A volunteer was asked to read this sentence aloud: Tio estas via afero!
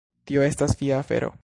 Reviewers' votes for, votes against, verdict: 0, 2, rejected